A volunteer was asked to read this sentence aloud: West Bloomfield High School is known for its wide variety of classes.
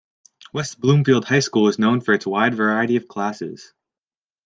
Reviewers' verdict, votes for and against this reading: accepted, 2, 0